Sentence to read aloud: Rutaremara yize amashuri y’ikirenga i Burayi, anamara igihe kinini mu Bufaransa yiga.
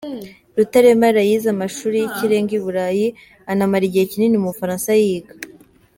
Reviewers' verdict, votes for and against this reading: accepted, 2, 0